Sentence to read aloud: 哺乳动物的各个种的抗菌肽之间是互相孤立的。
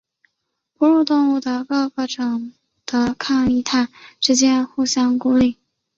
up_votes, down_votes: 1, 2